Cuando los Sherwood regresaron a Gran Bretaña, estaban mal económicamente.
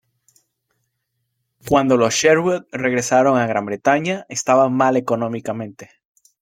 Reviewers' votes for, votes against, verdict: 2, 0, accepted